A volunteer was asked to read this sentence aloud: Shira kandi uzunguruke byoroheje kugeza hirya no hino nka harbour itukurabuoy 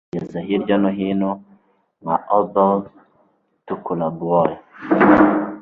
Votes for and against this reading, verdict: 1, 2, rejected